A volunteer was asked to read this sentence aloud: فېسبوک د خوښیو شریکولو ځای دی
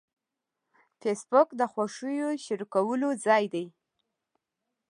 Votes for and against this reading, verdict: 2, 0, accepted